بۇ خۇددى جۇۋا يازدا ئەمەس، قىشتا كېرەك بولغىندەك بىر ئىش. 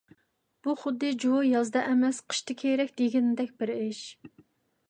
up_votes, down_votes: 0, 2